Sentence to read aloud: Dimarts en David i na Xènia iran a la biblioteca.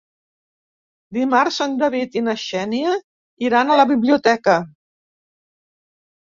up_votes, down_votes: 1, 2